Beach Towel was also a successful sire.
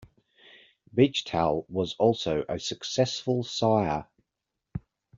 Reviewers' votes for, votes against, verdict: 2, 0, accepted